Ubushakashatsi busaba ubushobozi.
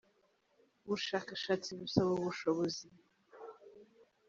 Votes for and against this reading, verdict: 2, 0, accepted